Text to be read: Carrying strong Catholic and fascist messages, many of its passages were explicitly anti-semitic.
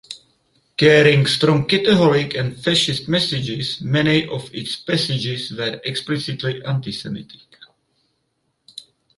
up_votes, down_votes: 2, 4